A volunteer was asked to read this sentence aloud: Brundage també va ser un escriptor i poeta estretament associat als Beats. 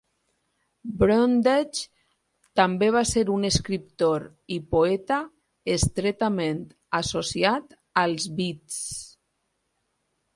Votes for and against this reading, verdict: 4, 0, accepted